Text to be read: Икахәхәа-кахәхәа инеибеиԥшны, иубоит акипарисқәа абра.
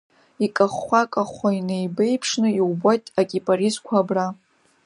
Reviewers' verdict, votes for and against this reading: accepted, 2, 0